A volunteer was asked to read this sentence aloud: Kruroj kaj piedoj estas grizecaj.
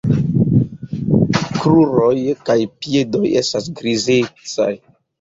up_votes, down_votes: 2, 0